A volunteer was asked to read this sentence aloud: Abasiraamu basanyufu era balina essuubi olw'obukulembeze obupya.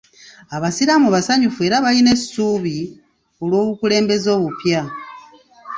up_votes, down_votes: 2, 0